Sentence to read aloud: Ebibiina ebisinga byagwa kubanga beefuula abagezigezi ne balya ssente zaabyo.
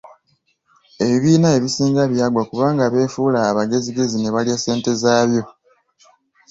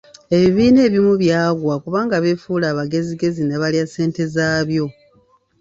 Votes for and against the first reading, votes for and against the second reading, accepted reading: 2, 0, 2, 3, first